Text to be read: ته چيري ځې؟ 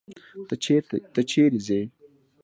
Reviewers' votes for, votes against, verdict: 2, 0, accepted